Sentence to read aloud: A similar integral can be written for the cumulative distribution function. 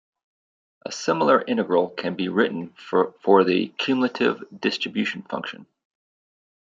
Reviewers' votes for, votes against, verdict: 1, 2, rejected